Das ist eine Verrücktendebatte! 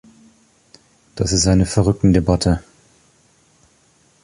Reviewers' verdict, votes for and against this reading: accepted, 2, 0